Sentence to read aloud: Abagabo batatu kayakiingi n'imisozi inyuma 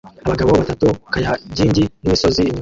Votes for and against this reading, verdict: 0, 2, rejected